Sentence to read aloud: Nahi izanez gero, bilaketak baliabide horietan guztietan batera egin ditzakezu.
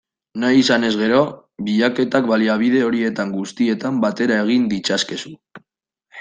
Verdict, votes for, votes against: rejected, 1, 2